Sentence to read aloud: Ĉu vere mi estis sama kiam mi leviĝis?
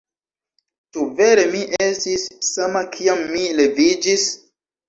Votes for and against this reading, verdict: 0, 2, rejected